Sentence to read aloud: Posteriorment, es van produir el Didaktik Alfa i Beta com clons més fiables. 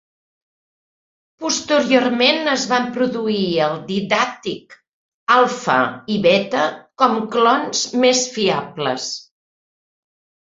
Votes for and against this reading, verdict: 2, 0, accepted